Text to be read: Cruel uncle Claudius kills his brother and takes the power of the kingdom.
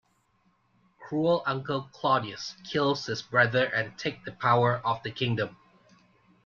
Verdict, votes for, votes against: rejected, 1, 2